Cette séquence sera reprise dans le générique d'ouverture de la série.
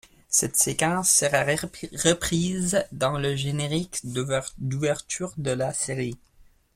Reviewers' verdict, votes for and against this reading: rejected, 0, 2